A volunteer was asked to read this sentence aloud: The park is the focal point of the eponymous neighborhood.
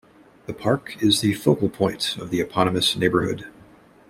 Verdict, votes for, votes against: accepted, 2, 0